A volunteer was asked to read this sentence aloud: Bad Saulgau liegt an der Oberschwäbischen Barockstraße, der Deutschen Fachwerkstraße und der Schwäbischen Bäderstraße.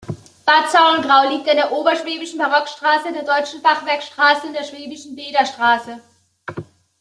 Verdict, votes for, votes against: rejected, 1, 2